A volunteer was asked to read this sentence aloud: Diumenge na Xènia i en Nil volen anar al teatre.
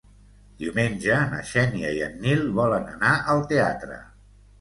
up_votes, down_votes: 2, 0